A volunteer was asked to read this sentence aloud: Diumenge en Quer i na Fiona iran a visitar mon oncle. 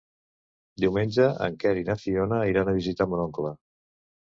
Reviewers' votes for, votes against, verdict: 3, 0, accepted